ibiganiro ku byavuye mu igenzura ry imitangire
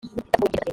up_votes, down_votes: 1, 2